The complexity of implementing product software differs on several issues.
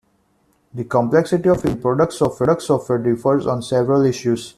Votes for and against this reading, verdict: 0, 2, rejected